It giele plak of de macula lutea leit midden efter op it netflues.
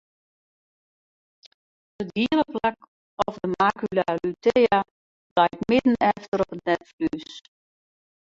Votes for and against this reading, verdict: 0, 4, rejected